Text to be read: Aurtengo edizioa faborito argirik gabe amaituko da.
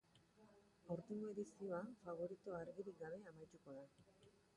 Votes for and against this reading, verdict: 3, 4, rejected